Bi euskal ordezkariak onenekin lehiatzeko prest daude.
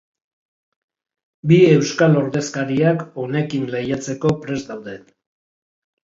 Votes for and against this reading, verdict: 0, 3, rejected